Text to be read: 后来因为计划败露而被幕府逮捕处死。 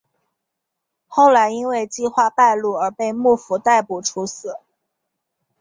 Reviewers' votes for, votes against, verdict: 4, 1, accepted